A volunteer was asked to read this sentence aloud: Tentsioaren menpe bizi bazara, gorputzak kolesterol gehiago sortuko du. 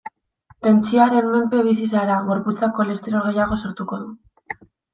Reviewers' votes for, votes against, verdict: 1, 2, rejected